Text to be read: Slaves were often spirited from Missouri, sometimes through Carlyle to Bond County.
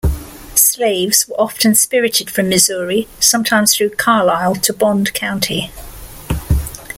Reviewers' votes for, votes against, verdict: 2, 0, accepted